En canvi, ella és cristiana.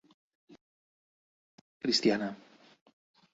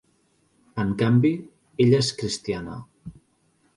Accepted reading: second